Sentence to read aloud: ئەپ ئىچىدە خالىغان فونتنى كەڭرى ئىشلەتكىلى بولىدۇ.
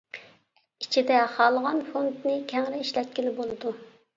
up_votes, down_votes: 0, 2